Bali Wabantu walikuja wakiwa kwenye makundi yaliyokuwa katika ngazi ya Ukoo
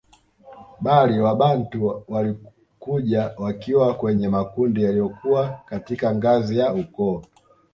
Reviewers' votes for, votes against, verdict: 2, 1, accepted